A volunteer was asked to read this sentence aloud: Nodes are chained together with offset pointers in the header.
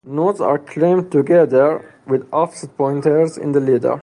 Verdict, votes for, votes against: accepted, 2, 0